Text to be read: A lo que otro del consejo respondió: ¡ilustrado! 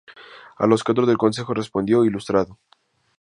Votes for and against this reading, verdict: 0, 2, rejected